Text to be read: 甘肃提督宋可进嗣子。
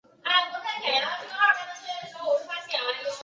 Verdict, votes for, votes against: rejected, 0, 3